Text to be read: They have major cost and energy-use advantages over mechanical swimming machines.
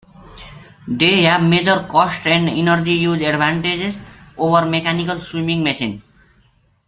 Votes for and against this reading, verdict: 1, 2, rejected